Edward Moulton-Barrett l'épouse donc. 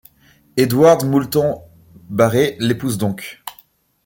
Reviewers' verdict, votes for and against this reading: rejected, 0, 2